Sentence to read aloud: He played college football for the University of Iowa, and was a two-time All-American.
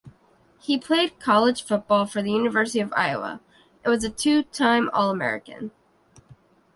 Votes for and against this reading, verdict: 2, 0, accepted